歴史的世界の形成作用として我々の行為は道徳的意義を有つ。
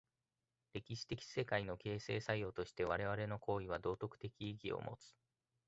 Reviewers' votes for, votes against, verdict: 2, 1, accepted